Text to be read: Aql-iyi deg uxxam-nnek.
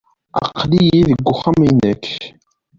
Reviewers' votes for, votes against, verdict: 1, 2, rejected